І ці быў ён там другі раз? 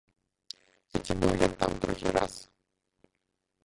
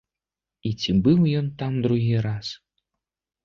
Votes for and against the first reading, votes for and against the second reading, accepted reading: 0, 2, 2, 0, second